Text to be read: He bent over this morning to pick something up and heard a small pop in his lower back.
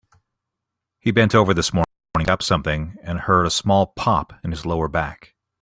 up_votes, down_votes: 1, 2